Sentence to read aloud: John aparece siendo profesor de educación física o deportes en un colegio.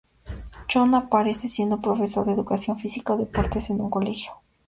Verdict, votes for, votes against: accepted, 2, 0